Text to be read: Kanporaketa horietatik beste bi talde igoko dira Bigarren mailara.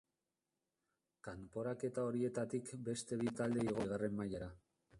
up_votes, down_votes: 0, 2